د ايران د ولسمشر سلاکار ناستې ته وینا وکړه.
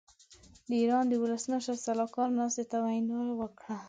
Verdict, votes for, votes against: accepted, 2, 1